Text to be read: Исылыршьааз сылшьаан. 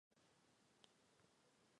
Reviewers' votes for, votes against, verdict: 0, 2, rejected